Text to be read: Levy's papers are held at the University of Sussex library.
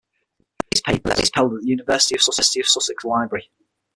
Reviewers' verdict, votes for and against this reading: rejected, 0, 6